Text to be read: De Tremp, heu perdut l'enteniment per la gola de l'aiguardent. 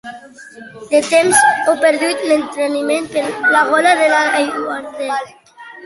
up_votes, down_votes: 0, 2